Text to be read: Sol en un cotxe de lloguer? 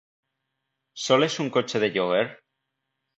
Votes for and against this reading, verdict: 1, 2, rejected